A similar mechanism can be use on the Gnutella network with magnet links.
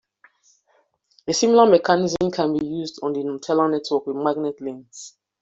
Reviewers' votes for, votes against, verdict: 2, 0, accepted